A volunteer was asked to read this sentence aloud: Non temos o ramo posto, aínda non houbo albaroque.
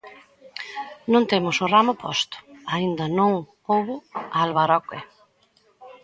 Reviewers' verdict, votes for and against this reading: rejected, 1, 2